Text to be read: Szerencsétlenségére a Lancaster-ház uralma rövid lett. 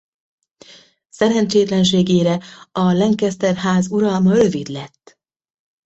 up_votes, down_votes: 2, 0